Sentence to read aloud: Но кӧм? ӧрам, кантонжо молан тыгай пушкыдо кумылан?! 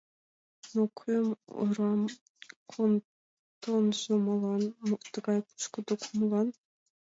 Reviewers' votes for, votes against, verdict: 1, 2, rejected